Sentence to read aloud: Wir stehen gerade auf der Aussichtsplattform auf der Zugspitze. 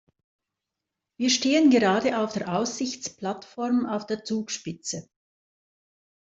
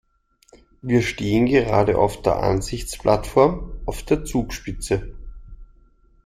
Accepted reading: first